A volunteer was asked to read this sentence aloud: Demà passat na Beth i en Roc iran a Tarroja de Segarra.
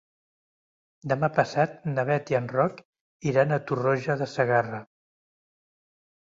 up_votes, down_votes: 1, 3